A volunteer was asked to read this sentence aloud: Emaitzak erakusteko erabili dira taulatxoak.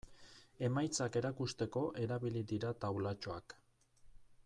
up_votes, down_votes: 1, 2